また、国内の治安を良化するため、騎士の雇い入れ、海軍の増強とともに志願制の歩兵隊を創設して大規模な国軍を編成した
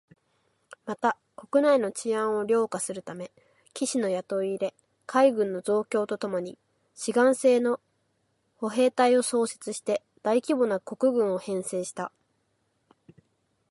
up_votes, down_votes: 2, 4